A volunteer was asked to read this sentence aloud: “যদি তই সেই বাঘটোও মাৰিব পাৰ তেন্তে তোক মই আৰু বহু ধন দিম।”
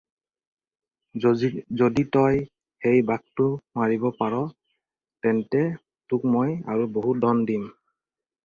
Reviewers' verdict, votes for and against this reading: rejected, 0, 4